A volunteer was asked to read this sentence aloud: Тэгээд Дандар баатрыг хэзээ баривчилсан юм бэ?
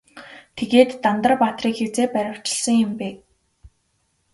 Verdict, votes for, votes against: accepted, 2, 0